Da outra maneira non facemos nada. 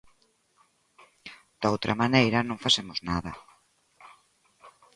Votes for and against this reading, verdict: 2, 0, accepted